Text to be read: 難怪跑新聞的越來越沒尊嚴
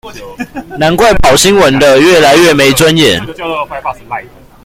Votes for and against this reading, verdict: 1, 2, rejected